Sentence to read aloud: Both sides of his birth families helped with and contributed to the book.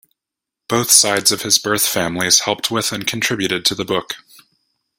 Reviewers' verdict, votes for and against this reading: accepted, 2, 0